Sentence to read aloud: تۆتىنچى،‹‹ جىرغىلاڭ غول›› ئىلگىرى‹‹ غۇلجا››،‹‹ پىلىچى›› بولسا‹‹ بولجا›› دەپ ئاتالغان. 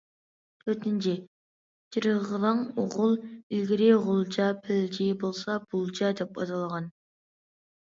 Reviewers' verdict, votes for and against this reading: rejected, 1, 2